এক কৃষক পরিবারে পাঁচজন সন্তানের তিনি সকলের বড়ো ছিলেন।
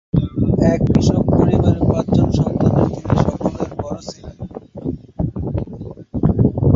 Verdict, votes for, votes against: rejected, 3, 3